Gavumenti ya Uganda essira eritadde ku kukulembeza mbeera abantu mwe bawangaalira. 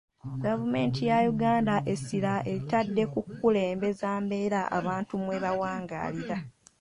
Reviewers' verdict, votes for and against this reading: accepted, 2, 0